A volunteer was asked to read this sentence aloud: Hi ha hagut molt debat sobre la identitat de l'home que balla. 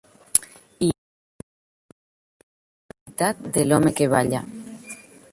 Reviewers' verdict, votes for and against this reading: rejected, 0, 2